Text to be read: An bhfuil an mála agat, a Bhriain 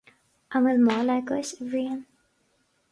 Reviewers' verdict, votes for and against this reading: rejected, 2, 4